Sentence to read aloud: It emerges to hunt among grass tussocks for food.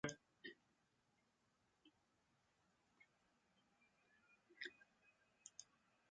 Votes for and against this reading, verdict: 0, 2, rejected